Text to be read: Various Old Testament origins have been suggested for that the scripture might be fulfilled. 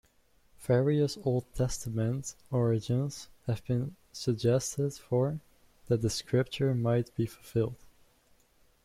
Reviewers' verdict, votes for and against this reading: rejected, 0, 2